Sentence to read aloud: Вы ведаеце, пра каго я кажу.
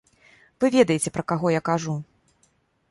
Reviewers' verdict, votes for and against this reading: accepted, 2, 0